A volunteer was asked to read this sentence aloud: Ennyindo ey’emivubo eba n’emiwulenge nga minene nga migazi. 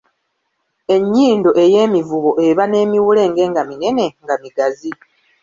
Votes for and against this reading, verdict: 2, 0, accepted